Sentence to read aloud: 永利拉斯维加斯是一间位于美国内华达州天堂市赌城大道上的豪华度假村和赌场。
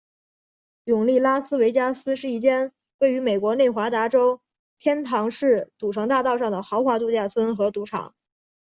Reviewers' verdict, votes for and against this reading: accepted, 2, 0